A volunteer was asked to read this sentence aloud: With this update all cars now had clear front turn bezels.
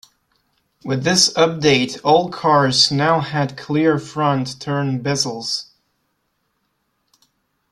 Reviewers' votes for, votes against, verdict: 2, 1, accepted